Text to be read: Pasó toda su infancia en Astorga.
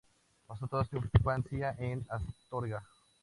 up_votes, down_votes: 2, 0